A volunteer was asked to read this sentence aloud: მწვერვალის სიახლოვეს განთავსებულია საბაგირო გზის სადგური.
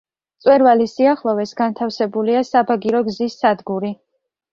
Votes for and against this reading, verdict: 2, 0, accepted